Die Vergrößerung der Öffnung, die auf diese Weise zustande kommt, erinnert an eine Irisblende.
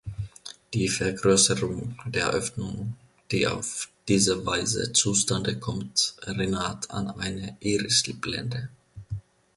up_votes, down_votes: 1, 2